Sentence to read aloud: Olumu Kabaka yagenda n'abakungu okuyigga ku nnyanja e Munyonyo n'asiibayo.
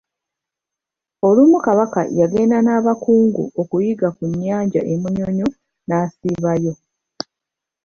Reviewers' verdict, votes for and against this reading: accepted, 2, 0